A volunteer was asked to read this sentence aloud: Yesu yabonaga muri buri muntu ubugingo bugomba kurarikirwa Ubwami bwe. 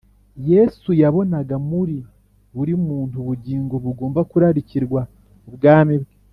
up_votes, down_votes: 2, 0